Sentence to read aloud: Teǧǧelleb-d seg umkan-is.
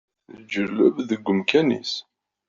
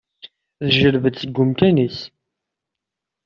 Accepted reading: second